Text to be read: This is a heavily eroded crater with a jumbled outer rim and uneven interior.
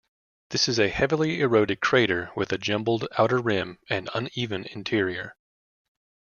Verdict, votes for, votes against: accepted, 2, 0